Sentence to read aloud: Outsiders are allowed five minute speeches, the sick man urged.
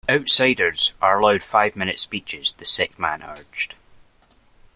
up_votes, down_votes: 2, 0